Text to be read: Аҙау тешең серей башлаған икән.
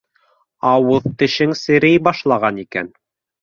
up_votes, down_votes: 0, 2